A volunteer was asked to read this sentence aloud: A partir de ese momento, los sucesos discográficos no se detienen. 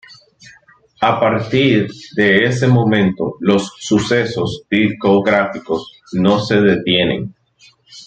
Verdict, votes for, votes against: accepted, 2, 1